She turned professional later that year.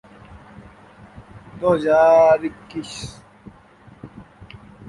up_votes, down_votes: 0, 2